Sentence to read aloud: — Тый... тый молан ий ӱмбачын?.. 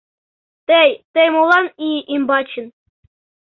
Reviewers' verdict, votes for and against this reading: accepted, 2, 0